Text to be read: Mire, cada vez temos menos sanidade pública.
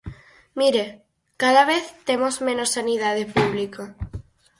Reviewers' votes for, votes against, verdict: 6, 0, accepted